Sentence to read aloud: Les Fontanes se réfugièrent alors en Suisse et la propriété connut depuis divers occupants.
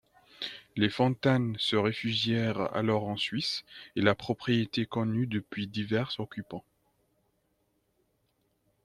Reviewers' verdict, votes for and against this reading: rejected, 1, 2